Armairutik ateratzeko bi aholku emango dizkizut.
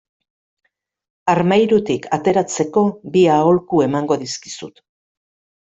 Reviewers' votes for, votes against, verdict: 2, 0, accepted